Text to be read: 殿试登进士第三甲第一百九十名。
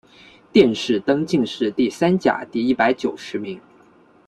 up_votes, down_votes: 2, 0